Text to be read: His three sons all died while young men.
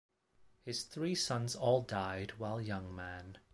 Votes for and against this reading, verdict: 2, 1, accepted